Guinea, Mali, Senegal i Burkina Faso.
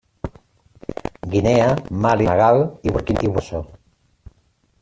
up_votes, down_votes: 0, 2